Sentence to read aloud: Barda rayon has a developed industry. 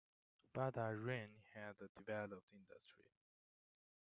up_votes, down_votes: 1, 2